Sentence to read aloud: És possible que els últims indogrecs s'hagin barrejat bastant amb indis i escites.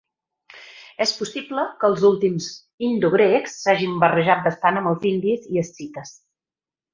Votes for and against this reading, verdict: 0, 4, rejected